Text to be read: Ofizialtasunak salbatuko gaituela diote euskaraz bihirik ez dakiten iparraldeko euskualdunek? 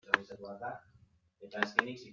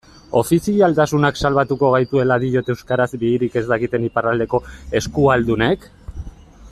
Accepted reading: second